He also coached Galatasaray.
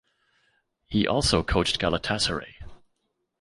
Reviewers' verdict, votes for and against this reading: accepted, 2, 0